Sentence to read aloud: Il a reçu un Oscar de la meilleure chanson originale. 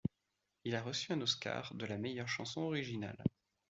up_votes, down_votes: 2, 0